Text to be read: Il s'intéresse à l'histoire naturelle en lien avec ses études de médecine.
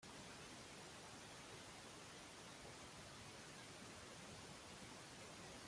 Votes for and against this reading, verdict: 0, 2, rejected